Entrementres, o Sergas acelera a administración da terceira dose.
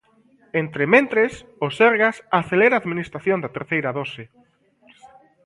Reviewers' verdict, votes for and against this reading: accepted, 2, 0